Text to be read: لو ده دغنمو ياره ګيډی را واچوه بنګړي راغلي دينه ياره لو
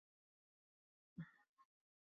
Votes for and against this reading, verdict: 1, 2, rejected